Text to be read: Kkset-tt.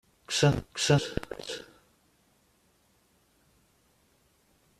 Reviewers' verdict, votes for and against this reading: rejected, 0, 2